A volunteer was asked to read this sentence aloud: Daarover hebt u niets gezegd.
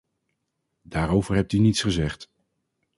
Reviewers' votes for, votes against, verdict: 4, 0, accepted